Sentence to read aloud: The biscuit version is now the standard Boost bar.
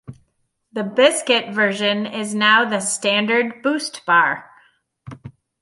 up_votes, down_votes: 2, 0